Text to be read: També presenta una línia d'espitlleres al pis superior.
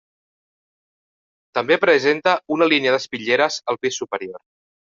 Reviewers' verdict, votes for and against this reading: accepted, 3, 0